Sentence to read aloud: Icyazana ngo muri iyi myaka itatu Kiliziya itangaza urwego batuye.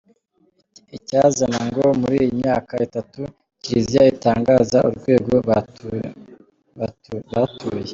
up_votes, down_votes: 1, 2